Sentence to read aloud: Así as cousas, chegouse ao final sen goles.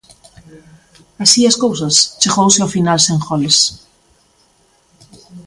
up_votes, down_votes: 2, 0